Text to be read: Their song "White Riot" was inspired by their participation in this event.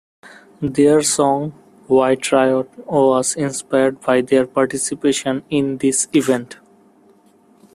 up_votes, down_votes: 2, 0